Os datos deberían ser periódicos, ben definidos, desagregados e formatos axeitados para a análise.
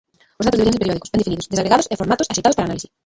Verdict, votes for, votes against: rejected, 0, 2